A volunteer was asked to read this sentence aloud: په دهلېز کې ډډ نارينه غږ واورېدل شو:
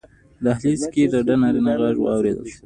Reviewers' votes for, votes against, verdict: 2, 0, accepted